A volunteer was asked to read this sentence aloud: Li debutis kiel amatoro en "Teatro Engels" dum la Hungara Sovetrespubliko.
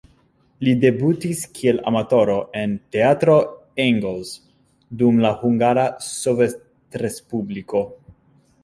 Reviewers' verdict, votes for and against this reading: rejected, 0, 2